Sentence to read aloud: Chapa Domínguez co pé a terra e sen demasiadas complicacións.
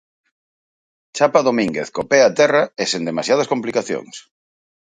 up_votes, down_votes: 6, 0